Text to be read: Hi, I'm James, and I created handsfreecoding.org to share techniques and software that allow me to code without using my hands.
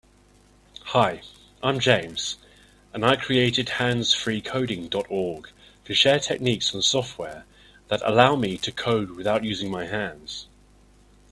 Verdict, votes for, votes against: accepted, 4, 0